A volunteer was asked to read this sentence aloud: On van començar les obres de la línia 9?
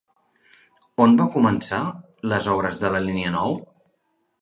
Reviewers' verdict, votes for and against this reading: rejected, 0, 2